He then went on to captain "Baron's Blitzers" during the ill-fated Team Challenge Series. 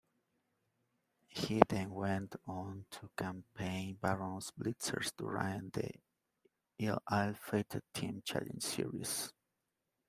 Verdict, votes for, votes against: rejected, 1, 2